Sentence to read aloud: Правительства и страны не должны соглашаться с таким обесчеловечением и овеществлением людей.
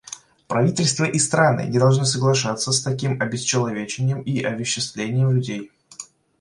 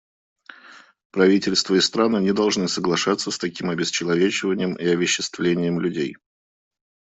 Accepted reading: second